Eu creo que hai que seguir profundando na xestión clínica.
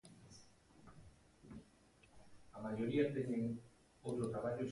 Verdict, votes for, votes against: rejected, 0, 2